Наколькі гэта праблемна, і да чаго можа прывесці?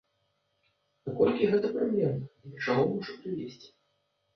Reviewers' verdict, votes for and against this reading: rejected, 1, 2